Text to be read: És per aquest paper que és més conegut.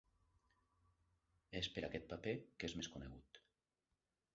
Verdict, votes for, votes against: rejected, 0, 2